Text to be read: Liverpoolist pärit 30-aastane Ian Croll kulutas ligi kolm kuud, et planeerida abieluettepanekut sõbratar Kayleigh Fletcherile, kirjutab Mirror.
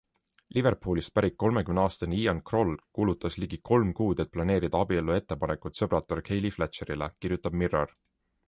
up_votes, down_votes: 0, 2